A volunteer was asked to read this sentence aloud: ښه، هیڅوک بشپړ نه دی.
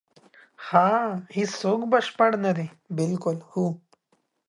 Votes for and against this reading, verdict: 1, 2, rejected